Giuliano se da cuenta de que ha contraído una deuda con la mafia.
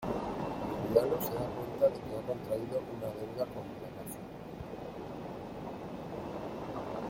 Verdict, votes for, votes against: rejected, 1, 2